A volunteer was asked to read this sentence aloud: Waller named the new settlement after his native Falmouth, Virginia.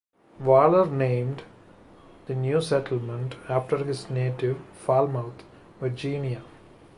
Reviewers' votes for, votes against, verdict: 2, 0, accepted